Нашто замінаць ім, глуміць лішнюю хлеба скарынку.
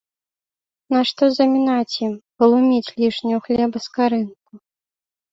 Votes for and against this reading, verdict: 0, 2, rejected